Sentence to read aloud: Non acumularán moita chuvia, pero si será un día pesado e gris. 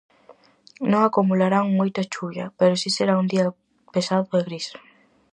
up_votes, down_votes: 4, 0